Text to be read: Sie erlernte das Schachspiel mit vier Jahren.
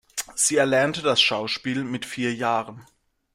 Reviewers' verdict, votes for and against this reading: rejected, 0, 2